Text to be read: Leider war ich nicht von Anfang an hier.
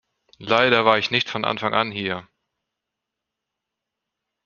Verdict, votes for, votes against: accepted, 2, 0